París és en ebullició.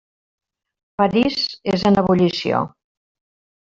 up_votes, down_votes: 3, 1